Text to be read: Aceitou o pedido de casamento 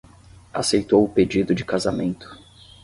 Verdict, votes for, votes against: accepted, 5, 0